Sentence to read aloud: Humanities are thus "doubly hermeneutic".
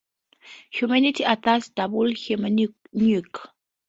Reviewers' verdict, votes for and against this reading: rejected, 0, 2